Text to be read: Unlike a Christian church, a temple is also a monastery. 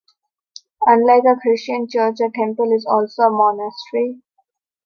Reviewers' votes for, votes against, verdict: 1, 2, rejected